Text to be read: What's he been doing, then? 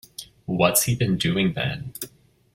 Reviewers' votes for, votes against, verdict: 2, 0, accepted